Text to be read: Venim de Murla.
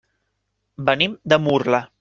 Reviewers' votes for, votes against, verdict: 3, 0, accepted